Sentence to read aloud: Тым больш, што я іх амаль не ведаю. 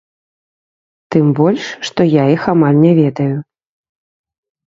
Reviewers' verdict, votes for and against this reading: rejected, 0, 2